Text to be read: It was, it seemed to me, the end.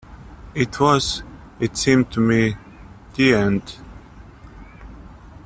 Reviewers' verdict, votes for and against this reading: accepted, 2, 1